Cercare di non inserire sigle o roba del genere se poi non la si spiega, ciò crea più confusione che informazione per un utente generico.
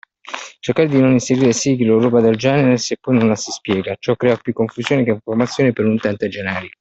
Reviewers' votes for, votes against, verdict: 0, 2, rejected